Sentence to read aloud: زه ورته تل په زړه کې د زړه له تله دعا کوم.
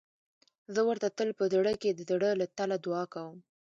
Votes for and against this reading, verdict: 2, 0, accepted